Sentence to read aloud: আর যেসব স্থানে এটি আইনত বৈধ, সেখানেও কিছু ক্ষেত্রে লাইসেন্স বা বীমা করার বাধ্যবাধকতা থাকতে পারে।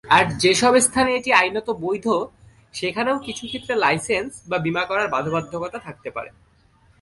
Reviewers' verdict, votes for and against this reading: accepted, 2, 0